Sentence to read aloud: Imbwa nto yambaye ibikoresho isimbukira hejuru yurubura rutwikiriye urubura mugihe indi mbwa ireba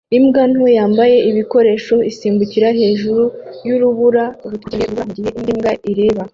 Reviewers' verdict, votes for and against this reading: rejected, 1, 2